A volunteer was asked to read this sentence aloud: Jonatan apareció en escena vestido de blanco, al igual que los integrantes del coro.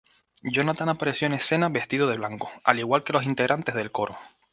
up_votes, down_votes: 2, 0